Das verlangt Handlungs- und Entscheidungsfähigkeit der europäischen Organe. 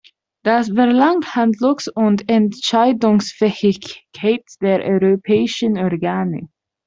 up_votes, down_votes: 0, 2